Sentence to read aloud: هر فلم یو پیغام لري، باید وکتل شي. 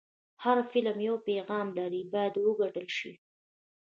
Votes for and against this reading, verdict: 0, 2, rejected